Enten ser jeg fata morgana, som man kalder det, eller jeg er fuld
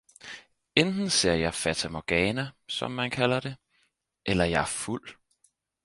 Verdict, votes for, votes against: accepted, 4, 0